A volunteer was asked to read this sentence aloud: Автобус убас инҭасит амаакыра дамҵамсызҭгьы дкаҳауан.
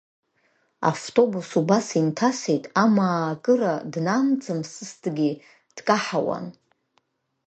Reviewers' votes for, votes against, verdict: 0, 2, rejected